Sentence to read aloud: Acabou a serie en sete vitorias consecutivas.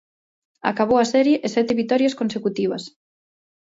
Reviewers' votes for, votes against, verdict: 0, 2, rejected